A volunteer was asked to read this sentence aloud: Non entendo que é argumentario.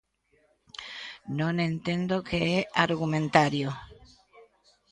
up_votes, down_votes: 1, 2